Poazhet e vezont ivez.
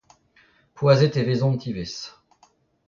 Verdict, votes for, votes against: rejected, 0, 2